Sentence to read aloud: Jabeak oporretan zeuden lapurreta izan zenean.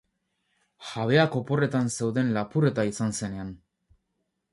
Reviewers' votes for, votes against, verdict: 2, 0, accepted